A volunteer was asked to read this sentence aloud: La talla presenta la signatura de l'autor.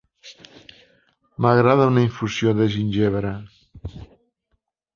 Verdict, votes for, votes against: rejected, 0, 2